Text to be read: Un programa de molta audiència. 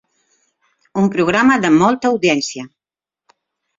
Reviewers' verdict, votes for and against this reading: accepted, 4, 0